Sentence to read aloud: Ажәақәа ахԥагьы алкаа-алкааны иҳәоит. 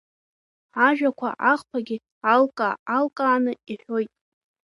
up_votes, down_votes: 2, 0